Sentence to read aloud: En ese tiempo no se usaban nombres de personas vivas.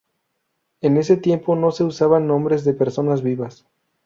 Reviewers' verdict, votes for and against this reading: accepted, 4, 0